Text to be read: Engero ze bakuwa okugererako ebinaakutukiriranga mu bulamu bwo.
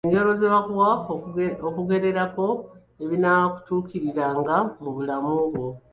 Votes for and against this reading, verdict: 1, 2, rejected